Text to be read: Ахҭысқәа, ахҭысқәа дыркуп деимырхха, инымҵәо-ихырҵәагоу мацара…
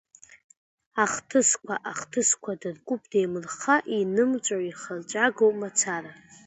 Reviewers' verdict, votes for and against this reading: accepted, 2, 0